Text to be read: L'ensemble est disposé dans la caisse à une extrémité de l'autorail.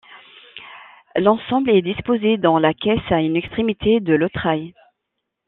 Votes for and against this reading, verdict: 0, 2, rejected